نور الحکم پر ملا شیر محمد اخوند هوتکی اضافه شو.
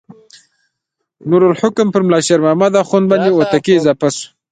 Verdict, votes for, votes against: rejected, 1, 2